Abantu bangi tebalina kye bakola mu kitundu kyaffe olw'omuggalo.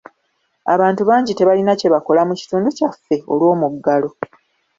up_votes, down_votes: 2, 0